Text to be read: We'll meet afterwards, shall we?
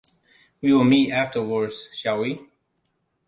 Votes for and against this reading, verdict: 2, 1, accepted